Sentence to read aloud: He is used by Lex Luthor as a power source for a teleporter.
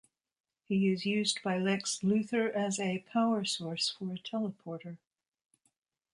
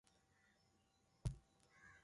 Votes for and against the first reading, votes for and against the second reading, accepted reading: 2, 0, 0, 2, first